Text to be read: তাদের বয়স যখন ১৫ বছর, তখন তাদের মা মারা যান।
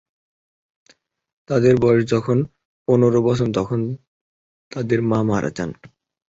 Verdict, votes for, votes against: rejected, 0, 2